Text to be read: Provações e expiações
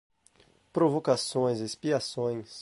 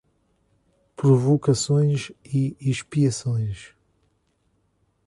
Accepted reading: first